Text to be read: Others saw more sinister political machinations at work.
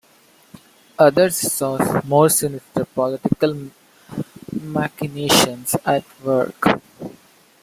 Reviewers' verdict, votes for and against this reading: rejected, 1, 2